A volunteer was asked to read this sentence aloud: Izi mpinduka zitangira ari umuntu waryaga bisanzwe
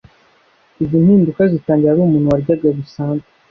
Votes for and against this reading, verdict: 2, 0, accepted